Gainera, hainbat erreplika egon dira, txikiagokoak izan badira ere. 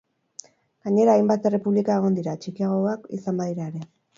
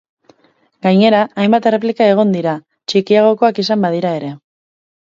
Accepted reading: second